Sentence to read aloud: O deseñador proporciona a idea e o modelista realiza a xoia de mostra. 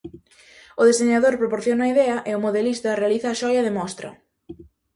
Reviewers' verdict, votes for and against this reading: accepted, 2, 0